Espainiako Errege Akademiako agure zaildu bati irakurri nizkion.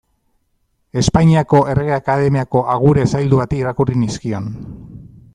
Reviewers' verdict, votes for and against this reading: accepted, 2, 0